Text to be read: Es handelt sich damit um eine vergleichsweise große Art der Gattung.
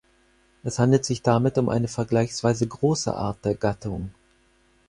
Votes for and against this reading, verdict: 4, 0, accepted